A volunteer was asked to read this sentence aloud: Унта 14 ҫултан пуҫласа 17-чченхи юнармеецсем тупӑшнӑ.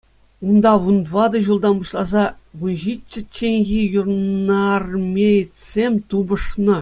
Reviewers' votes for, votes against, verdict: 0, 2, rejected